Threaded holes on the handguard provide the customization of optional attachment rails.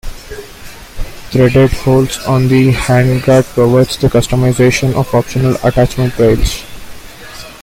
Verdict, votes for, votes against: accepted, 2, 1